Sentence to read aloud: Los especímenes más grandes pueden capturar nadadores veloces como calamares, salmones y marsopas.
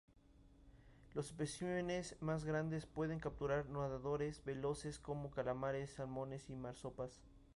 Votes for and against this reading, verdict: 4, 0, accepted